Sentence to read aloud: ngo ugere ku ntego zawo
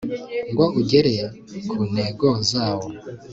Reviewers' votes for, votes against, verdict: 2, 0, accepted